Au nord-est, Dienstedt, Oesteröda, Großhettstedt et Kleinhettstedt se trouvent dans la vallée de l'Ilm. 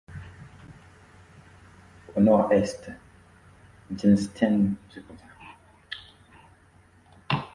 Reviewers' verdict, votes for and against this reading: rejected, 0, 2